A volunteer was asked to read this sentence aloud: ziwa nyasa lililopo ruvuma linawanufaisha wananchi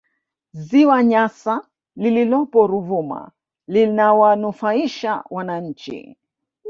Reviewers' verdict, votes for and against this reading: accepted, 2, 0